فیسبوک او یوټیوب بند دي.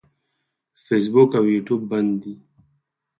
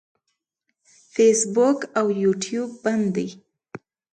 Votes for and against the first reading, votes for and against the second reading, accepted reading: 0, 4, 2, 0, second